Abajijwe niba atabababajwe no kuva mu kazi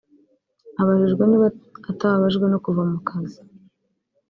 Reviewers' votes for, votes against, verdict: 1, 2, rejected